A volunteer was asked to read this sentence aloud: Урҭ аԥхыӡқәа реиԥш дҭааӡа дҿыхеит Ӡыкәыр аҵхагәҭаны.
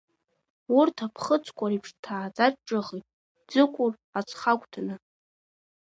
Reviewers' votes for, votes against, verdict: 2, 0, accepted